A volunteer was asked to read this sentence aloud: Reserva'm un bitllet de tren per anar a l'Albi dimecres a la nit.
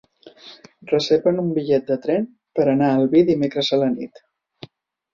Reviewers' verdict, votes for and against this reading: rejected, 2, 3